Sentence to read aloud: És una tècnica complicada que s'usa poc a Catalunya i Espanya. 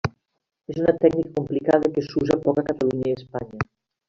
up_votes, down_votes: 1, 2